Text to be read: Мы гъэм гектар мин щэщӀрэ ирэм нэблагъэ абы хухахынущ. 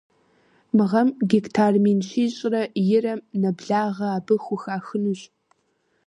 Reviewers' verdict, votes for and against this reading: rejected, 1, 2